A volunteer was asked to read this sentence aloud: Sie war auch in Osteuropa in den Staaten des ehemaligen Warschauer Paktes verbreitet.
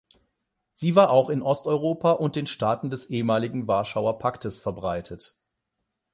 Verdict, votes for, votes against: rejected, 4, 8